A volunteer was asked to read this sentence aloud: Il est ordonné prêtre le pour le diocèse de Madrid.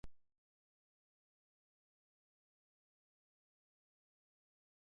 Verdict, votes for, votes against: rejected, 0, 2